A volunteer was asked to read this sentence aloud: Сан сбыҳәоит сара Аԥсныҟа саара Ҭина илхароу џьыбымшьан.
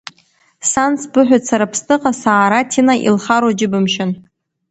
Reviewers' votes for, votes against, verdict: 2, 0, accepted